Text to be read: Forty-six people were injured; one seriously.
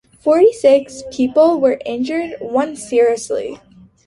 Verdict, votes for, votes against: accepted, 2, 0